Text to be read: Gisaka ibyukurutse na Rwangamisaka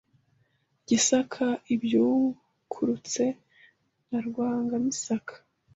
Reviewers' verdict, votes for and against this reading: accepted, 2, 0